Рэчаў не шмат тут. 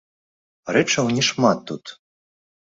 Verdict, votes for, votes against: accepted, 2, 1